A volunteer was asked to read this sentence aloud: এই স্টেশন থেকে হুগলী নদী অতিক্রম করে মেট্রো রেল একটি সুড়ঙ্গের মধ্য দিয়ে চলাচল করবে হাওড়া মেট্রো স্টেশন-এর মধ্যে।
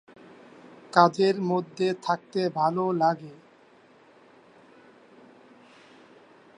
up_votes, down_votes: 0, 3